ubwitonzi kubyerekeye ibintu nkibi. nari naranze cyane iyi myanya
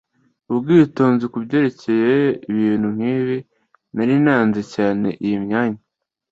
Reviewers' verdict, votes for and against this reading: accepted, 2, 0